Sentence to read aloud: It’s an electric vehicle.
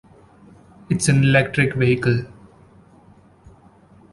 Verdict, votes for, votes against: accepted, 2, 0